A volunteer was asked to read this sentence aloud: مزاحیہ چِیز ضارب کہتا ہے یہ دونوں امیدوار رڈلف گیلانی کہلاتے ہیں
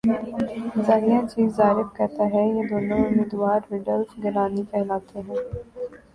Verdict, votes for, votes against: rejected, 4, 4